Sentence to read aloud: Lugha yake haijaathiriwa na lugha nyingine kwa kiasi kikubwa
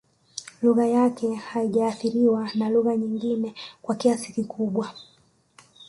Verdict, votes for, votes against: rejected, 1, 2